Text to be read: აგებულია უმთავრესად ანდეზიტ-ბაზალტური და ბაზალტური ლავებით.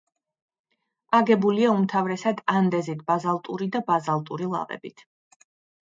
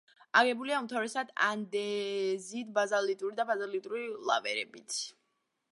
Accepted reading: first